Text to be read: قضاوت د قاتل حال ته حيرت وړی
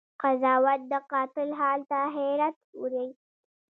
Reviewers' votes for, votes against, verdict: 1, 2, rejected